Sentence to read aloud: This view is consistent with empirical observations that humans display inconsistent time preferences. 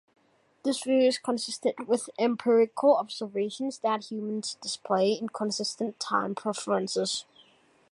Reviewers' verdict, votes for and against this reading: accepted, 2, 0